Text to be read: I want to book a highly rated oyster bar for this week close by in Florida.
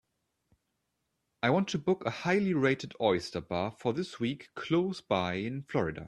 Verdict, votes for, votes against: accepted, 2, 0